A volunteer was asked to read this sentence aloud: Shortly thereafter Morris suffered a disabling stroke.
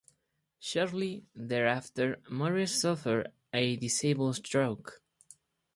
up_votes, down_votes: 0, 4